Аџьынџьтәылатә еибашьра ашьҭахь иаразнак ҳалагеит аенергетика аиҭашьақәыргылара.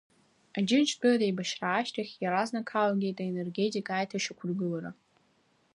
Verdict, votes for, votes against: accepted, 2, 0